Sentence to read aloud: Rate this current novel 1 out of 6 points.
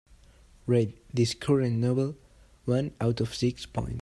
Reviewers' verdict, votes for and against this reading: rejected, 0, 2